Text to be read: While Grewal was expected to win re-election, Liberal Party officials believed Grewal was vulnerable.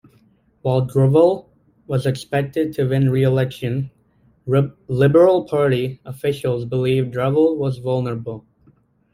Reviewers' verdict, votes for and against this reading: rejected, 1, 2